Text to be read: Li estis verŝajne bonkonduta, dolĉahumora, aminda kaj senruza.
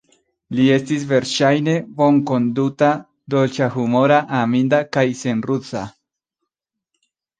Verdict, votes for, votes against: accepted, 2, 1